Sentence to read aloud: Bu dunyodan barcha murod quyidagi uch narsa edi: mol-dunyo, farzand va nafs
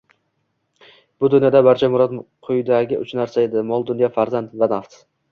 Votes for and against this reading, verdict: 0, 3, rejected